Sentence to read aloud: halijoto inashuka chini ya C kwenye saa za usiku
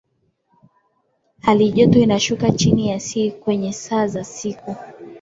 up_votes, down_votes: 2, 0